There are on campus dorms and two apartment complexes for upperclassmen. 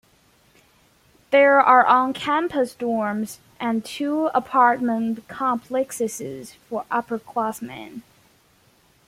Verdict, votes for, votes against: accepted, 2, 1